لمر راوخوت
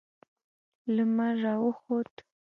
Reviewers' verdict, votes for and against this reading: accepted, 2, 0